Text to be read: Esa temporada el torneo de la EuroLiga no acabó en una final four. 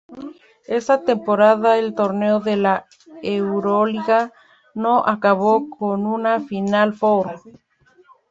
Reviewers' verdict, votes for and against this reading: rejected, 0, 2